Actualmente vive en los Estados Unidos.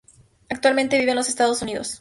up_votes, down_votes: 2, 0